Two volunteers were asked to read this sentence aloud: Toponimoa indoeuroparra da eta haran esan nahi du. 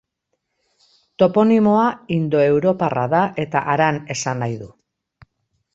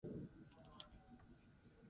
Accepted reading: first